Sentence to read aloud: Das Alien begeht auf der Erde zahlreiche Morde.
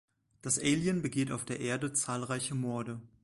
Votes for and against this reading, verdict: 2, 0, accepted